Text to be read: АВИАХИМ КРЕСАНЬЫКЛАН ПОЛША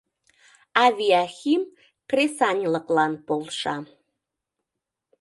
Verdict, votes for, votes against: rejected, 0, 2